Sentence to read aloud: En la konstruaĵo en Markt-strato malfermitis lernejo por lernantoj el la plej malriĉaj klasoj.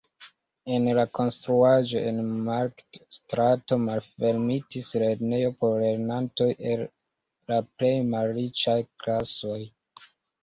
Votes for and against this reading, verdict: 2, 1, accepted